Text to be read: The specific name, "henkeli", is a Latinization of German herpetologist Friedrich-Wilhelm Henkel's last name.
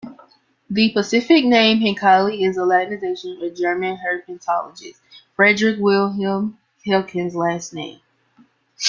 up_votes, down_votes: 2, 0